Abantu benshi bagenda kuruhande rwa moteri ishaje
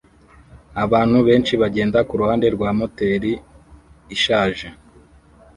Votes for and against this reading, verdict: 1, 2, rejected